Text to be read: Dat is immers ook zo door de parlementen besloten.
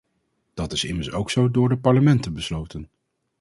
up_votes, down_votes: 2, 2